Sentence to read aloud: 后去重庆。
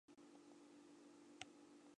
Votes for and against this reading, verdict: 0, 3, rejected